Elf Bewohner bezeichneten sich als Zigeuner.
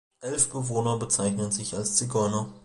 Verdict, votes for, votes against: rejected, 1, 2